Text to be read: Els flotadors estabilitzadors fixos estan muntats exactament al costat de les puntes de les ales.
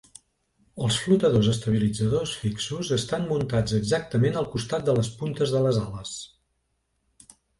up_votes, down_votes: 2, 0